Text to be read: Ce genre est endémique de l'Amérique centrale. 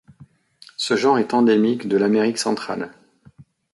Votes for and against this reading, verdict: 2, 0, accepted